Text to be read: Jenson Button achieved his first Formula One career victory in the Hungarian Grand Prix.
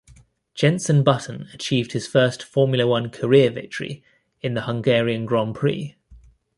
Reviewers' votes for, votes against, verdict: 2, 0, accepted